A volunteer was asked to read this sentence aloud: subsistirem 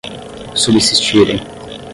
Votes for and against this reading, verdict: 10, 5, accepted